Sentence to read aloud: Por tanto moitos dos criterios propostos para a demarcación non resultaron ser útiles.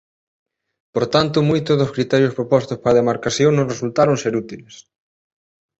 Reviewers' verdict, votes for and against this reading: rejected, 1, 2